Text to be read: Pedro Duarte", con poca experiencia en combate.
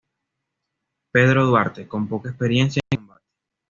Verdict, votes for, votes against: rejected, 1, 2